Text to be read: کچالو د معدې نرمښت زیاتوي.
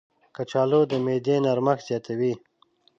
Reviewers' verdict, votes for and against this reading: accepted, 5, 0